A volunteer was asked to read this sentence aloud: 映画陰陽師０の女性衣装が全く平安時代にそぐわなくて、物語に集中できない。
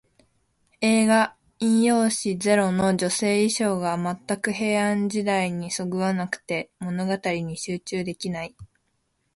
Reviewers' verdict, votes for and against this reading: rejected, 0, 2